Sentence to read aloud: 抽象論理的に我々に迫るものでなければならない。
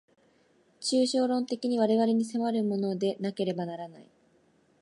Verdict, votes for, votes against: rejected, 1, 2